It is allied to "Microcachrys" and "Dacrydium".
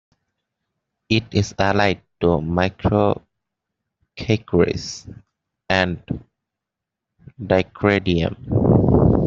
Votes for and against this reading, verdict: 2, 0, accepted